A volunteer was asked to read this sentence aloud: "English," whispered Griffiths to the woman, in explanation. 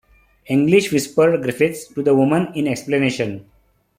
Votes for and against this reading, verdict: 2, 0, accepted